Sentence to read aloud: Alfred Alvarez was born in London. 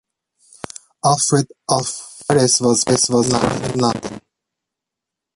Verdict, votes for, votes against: rejected, 0, 3